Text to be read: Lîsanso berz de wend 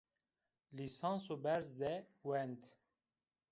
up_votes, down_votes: 2, 0